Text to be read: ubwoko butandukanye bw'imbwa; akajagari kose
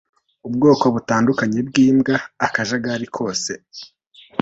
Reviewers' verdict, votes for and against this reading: accepted, 2, 0